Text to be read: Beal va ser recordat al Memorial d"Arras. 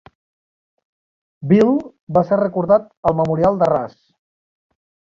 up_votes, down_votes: 0, 2